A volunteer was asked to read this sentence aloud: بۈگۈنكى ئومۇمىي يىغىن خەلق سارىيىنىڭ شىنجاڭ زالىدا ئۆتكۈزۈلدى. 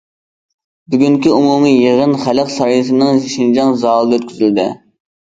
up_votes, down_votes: 1, 2